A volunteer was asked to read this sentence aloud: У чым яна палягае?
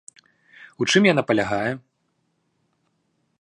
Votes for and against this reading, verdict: 2, 0, accepted